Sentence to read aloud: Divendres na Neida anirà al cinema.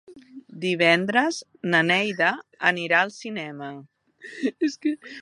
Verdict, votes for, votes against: rejected, 0, 2